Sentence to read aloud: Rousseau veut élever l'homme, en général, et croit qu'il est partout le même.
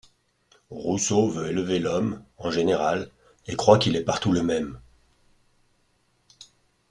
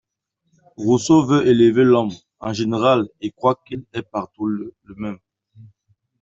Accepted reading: first